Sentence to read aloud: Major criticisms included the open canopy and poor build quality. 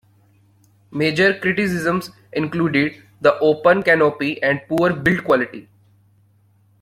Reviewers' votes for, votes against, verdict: 2, 1, accepted